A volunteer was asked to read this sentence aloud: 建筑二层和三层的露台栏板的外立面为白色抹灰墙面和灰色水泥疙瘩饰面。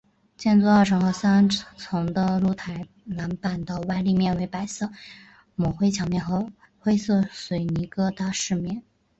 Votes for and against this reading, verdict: 1, 2, rejected